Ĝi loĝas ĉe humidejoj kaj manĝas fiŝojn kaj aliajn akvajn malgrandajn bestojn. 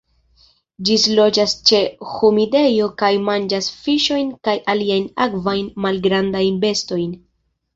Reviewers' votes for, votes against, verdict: 1, 2, rejected